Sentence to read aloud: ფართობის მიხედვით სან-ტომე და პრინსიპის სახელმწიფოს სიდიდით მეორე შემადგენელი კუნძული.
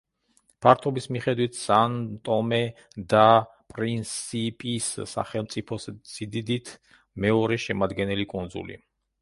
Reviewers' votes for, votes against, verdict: 1, 2, rejected